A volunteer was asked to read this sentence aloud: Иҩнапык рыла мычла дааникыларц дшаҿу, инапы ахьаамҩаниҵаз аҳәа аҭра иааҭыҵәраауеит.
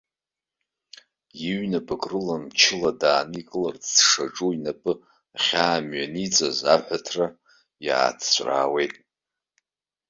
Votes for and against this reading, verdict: 1, 2, rejected